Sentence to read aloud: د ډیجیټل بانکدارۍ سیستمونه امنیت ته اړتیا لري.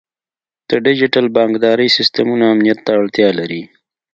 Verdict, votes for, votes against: accepted, 2, 0